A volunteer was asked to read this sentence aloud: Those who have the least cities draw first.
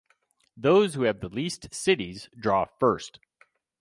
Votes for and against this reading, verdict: 4, 0, accepted